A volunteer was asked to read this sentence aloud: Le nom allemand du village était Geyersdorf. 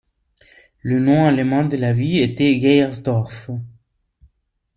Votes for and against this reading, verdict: 0, 2, rejected